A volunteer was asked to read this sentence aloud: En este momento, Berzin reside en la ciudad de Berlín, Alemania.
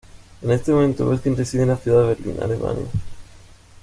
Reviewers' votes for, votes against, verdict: 1, 2, rejected